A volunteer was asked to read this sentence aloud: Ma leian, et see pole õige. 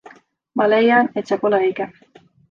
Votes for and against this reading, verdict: 2, 0, accepted